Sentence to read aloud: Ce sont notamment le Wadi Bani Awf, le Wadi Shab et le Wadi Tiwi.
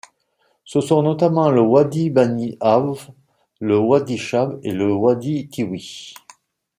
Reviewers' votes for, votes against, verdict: 2, 0, accepted